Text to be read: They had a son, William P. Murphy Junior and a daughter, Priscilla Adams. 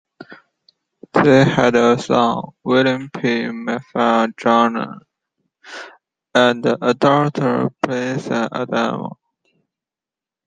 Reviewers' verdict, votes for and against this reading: rejected, 0, 2